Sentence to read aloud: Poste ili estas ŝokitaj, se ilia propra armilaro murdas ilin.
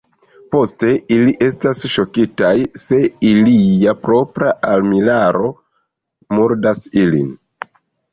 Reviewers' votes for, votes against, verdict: 2, 0, accepted